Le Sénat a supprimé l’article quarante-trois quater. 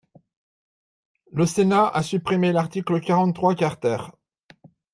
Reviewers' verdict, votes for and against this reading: rejected, 0, 2